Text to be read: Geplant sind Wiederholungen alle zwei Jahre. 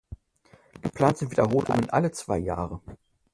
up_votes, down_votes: 2, 3